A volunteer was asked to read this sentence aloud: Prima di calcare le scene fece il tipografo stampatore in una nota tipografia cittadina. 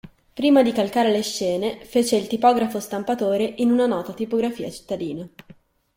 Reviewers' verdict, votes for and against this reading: accepted, 2, 0